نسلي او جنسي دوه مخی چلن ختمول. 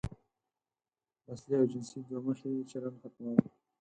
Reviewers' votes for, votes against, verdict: 4, 0, accepted